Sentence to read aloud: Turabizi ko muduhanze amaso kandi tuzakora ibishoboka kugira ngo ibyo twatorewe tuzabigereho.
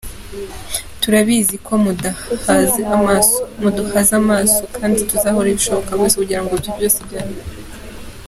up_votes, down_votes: 0, 4